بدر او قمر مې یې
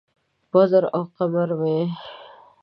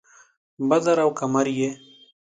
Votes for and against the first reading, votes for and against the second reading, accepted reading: 0, 2, 2, 0, second